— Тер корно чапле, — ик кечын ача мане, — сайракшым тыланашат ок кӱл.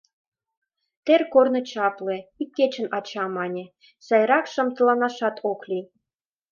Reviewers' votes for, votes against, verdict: 0, 2, rejected